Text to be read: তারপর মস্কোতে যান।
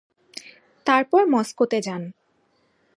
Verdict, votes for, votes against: rejected, 1, 2